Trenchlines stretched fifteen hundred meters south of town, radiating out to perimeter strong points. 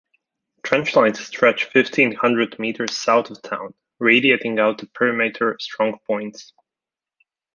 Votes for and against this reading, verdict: 2, 0, accepted